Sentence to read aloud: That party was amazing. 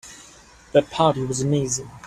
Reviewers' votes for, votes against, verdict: 2, 1, accepted